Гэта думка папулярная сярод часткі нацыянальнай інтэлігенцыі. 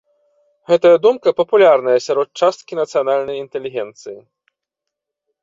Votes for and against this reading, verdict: 1, 2, rejected